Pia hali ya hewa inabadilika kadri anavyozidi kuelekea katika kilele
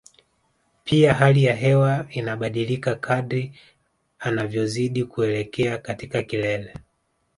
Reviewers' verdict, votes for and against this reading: rejected, 1, 2